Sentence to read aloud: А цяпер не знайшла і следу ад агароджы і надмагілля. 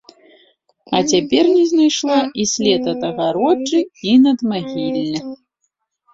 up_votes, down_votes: 0, 2